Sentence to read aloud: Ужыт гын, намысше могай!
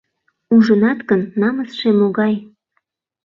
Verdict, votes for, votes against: rejected, 0, 2